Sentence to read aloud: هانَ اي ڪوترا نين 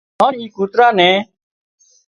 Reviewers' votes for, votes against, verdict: 2, 0, accepted